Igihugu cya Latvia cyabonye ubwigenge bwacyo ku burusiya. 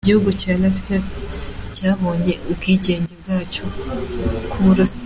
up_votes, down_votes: 2, 1